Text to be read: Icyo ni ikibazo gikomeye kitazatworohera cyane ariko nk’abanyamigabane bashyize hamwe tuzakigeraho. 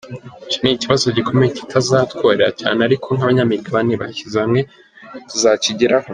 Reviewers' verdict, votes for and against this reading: accepted, 3, 1